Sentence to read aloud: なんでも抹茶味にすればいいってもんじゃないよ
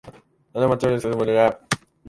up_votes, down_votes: 5, 16